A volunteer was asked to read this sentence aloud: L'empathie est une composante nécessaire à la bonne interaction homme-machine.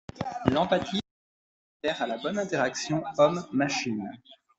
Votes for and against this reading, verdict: 0, 2, rejected